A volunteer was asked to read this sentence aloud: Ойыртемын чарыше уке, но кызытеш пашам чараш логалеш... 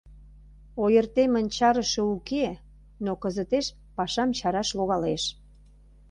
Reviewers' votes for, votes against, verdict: 2, 0, accepted